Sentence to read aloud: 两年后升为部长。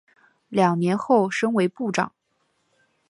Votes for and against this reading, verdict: 0, 3, rejected